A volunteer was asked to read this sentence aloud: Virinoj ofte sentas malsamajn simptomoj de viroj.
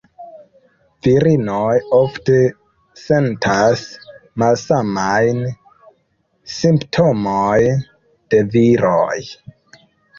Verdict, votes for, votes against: rejected, 1, 2